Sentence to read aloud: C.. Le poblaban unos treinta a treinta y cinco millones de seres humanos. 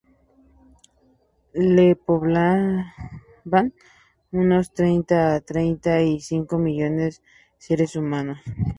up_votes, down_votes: 0, 2